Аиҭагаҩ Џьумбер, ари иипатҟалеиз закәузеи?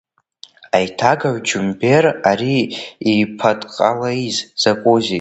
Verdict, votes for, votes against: accepted, 2, 1